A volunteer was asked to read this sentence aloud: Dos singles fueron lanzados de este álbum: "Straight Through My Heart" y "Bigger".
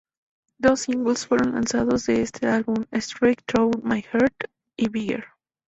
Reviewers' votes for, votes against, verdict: 2, 0, accepted